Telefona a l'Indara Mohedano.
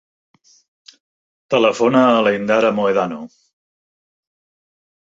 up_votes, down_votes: 5, 0